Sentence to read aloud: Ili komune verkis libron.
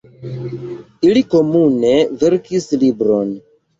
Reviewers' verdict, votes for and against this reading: accepted, 2, 0